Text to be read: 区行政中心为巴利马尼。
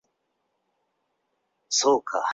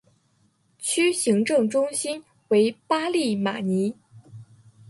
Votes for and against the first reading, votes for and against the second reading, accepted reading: 1, 3, 8, 1, second